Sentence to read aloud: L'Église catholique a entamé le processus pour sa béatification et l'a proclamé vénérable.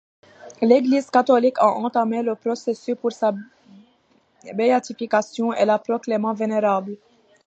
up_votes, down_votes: 0, 2